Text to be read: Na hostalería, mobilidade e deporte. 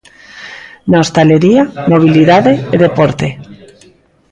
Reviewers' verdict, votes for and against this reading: rejected, 1, 2